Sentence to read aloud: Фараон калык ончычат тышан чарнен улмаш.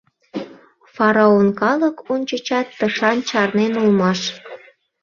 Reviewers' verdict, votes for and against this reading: accepted, 2, 0